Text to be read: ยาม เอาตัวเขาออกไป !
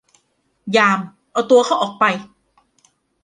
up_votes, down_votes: 1, 2